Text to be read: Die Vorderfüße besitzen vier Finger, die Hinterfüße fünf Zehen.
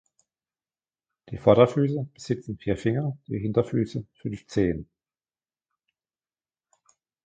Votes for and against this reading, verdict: 3, 2, accepted